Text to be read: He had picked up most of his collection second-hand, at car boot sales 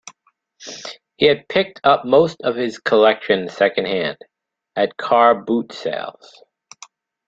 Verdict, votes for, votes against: accepted, 2, 0